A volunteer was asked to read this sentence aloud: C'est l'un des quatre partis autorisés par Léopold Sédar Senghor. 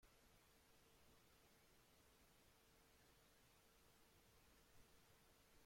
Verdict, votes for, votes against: rejected, 0, 2